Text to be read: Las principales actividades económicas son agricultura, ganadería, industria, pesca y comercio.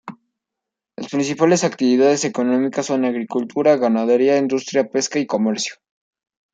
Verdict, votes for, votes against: accepted, 2, 1